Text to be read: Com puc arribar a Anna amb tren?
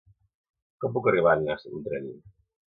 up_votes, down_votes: 0, 2